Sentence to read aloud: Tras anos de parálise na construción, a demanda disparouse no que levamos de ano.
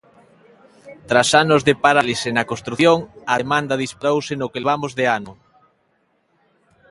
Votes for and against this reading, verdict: 2, 0, accepted